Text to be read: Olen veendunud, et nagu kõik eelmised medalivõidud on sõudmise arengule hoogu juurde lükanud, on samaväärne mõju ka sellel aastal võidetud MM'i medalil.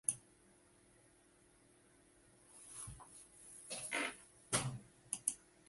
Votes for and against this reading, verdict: 0, 2, rejected